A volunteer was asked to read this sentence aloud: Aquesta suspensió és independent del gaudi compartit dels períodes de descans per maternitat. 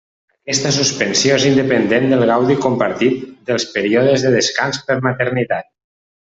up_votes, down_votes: 1, 2